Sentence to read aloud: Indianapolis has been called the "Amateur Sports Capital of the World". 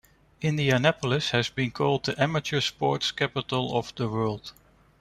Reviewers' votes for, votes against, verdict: 2, 0, accepted